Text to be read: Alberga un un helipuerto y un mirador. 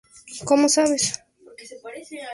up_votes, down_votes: 0, 2